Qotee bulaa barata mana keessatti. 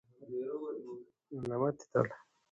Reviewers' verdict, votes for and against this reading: rejected, 0, 2